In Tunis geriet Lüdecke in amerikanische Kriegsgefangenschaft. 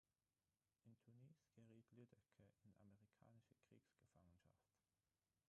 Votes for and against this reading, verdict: 0, 6, rejected